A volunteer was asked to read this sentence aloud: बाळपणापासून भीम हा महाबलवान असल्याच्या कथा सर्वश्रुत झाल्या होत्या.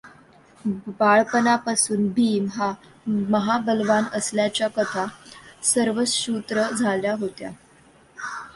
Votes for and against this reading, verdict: 0, 2, rejected